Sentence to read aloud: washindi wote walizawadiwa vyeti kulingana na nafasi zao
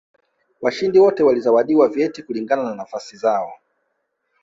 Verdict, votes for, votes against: rejected, 0, 2